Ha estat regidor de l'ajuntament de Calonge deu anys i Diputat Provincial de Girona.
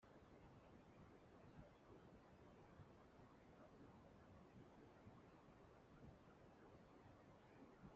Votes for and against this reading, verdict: 0, 2, rejected